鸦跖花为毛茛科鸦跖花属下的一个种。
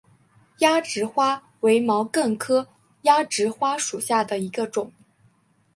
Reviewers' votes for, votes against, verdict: 4, 0, accepted